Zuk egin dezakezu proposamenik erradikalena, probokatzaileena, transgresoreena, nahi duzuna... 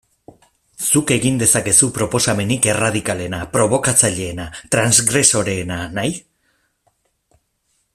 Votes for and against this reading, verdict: 0, 2, rejected